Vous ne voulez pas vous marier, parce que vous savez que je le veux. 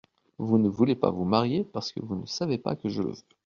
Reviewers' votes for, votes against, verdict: 0, 2, rejected